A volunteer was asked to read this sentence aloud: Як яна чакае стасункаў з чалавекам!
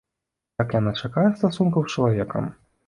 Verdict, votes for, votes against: accepted, 2, 0